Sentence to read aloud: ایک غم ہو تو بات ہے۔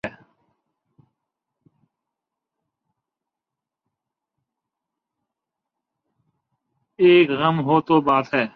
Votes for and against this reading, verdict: 0, 2, rejected